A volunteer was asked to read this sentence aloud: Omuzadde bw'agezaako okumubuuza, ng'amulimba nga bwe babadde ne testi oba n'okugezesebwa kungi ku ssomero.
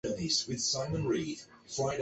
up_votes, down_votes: 0, 2